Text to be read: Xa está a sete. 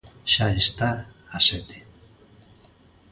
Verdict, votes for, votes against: accepted, 2, 0